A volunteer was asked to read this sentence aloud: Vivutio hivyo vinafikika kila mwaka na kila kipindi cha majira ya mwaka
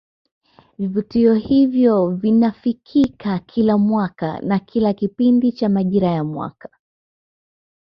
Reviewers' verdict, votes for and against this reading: accepted, 2, 0